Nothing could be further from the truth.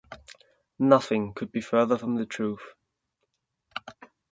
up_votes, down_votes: 2, 0